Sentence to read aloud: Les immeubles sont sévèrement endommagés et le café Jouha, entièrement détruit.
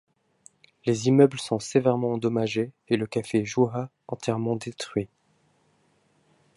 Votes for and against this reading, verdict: 1, 2, rejected